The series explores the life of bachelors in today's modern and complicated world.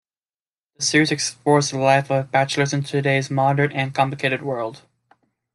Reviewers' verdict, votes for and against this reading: accepted, 2, 0